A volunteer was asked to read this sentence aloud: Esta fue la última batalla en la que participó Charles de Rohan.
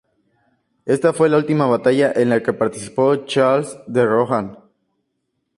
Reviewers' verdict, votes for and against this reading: accepted, 2, 0